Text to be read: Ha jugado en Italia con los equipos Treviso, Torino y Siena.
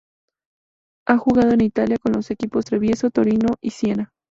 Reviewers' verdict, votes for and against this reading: rejected, 0, 2